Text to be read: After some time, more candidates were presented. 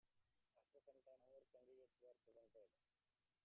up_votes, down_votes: 0, 2